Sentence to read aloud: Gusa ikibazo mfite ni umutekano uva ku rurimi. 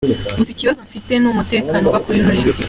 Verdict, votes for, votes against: accepted, 2, 0